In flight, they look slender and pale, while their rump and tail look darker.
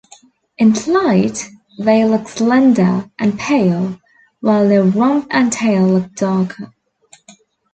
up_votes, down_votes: 2, 1